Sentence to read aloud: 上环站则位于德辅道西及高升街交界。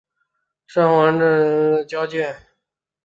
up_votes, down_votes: 0, 3